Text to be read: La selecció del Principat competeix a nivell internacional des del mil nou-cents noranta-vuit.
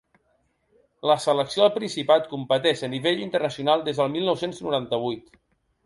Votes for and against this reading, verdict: 2, 0, accepted